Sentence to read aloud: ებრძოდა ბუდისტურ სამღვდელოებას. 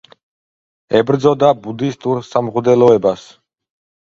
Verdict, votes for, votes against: accepted, 2, 0